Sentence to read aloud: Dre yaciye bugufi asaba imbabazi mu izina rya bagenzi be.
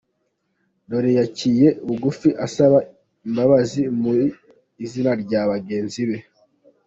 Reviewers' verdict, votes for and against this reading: rejected, 1, 2